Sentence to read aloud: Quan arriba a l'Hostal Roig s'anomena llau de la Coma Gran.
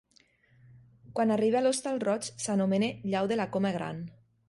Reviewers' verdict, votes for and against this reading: accepted, 3, 0